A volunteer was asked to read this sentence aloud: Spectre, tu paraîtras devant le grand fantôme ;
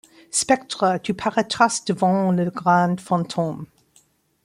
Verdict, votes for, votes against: rejected, 0, 2